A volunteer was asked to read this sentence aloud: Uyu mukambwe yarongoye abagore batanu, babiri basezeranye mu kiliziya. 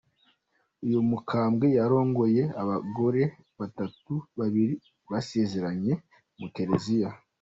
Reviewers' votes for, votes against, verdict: 0, 2, rejected